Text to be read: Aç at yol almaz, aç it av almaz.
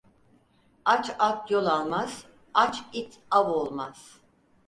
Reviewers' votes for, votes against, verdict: 2, 4, rejected